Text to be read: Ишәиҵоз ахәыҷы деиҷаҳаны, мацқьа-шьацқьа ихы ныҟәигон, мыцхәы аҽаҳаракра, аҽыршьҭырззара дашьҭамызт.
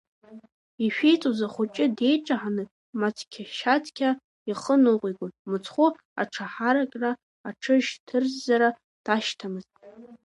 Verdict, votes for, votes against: accepted, 2, 1